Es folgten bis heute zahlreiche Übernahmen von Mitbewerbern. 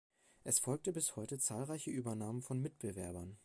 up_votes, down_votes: 0, 2